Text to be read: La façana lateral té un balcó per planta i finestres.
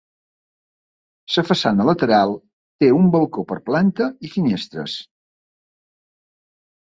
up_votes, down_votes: 1, 2